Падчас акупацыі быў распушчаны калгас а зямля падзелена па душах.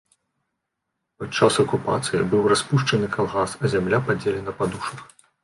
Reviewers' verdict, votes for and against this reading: rejected, 1, 2